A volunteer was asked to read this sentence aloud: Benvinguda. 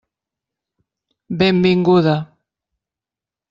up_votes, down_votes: 3, 0